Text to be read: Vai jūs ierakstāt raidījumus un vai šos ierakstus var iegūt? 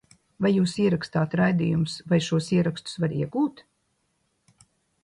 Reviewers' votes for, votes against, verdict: 0, 2, rejected